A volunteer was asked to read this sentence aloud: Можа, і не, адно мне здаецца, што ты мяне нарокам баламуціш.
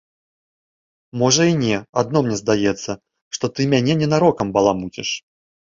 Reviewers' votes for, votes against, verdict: 0, 2, rejected